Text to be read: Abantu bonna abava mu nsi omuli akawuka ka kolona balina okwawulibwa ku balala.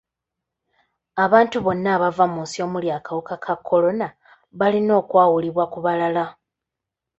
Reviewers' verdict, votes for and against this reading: accepted, 2, 0